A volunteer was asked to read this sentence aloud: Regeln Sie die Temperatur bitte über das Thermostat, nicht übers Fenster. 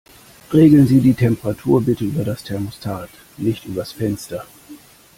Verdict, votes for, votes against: accepted, 2, 0